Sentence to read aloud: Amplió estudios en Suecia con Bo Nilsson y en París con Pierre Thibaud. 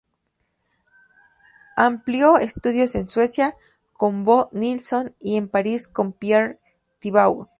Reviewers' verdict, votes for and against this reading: accepted, 2, 0